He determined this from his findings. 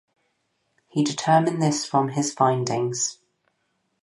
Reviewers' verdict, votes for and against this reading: rejected, 2, 2